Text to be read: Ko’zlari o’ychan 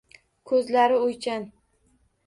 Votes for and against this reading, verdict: 1, 2, rejected